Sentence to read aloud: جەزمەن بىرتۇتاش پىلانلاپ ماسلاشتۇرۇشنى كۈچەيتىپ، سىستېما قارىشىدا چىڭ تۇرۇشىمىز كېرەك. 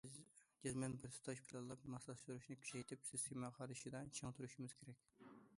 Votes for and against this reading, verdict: 1, 2, rejected